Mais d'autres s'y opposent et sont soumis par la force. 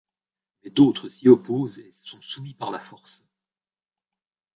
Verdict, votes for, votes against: rejected, 1, 2